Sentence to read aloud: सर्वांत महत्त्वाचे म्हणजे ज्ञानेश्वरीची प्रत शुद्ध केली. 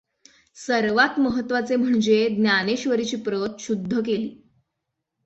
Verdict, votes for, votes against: accepted, 6, 0